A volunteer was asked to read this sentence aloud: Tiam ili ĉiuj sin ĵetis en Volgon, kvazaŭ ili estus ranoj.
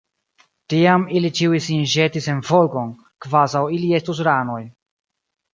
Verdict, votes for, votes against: rejected, 0, 2